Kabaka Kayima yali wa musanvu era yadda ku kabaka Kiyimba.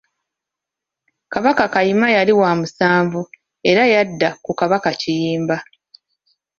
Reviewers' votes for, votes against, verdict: 2, 0, accepted